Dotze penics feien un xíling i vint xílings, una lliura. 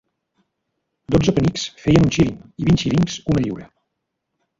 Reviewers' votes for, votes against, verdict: 1, 2, rejected